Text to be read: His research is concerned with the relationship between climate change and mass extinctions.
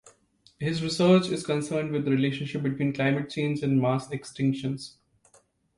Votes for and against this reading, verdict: 2, 0, accepted